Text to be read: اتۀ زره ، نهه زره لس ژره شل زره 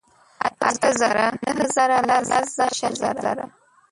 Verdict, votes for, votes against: rejected, 0, 2